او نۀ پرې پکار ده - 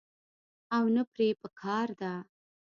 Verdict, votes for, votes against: rejected, 0, 2